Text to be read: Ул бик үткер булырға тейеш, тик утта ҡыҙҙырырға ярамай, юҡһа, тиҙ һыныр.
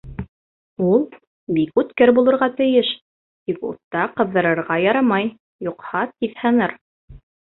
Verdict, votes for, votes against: accepted, 2, 0